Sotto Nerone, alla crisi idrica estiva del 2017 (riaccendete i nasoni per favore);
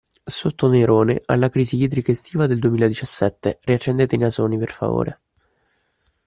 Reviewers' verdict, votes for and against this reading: rejected, 0, 2